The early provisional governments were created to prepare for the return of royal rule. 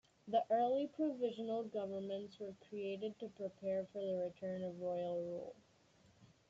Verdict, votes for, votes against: rejected, 0, 2